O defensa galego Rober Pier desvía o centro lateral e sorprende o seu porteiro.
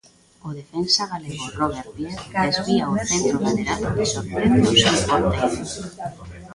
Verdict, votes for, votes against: rejected, 0, 2